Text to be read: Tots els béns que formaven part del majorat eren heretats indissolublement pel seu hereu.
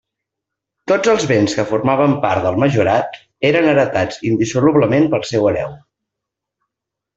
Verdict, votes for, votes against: accepted, 2, 0